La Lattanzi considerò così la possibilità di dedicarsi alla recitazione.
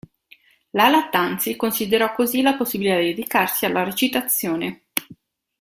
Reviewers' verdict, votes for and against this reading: rejected, 1, 2